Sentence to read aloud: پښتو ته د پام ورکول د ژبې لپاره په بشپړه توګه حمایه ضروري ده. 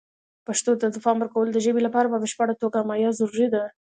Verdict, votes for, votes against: accepted, 2, 0